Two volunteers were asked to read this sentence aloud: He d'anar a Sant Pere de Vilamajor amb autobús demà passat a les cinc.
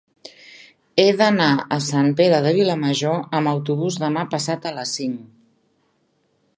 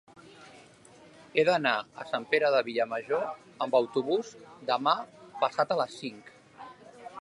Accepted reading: first